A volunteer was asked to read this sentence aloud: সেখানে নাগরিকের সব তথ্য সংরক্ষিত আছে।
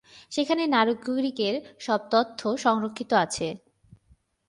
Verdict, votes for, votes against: rejected, 0, 3